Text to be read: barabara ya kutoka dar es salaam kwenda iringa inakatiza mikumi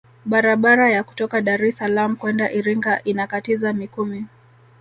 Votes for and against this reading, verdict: 3, 1, accepted